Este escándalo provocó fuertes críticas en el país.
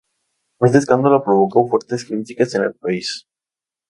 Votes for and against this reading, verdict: 2, 4, rejected